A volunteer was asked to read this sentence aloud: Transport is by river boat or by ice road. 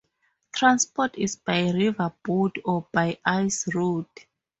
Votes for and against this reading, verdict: 2, 0, accepted